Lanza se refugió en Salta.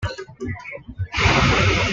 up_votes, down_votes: 1, 2